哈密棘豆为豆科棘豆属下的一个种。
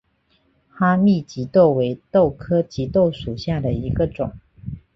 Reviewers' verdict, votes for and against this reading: accepted, 2, 0